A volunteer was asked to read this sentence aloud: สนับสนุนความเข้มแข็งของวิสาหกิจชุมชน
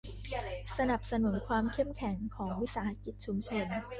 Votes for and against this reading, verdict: 0, 2, rejected